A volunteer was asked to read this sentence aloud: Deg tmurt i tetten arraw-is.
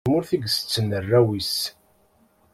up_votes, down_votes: 2, 0